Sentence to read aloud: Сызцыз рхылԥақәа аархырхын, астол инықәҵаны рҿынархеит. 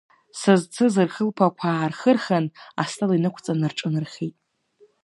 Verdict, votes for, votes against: accepted, 2, 1